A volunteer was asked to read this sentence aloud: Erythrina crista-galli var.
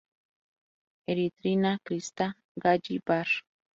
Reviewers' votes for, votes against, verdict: 0, 2, rejected